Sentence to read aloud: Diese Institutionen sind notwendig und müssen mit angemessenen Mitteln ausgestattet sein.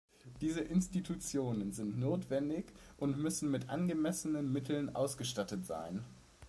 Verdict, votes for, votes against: accepted, 2, 0